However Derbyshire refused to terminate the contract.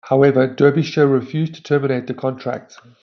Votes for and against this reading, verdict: 2, 0, accepted